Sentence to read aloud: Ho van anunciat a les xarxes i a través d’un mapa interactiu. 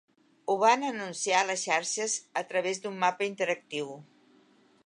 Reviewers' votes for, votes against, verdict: 1, 2, rejected